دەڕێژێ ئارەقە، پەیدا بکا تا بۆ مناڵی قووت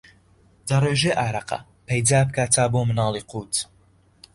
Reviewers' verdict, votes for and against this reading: accepted, 2, 0